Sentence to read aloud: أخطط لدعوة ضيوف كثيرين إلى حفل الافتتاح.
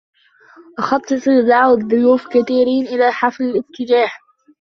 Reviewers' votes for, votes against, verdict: 1, 2, rejected